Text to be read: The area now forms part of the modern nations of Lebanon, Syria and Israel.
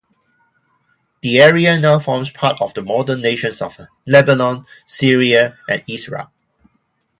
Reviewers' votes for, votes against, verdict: 2, 0, accepted